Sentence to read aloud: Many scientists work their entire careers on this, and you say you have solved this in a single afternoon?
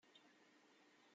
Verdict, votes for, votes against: rejected, 0, 2